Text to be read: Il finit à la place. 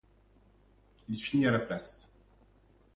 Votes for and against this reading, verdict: 1, 2, rejected